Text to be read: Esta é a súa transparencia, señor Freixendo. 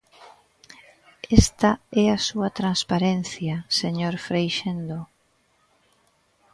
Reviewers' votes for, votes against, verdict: 0, 2, rejected